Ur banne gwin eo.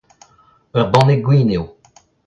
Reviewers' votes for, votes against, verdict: 2, 0, accepted